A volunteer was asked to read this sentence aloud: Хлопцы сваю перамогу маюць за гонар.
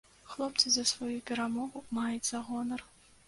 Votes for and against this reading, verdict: 0, 2, rejected